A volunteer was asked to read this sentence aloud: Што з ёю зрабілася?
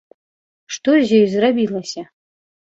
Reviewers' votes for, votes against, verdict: 0, 2, rejected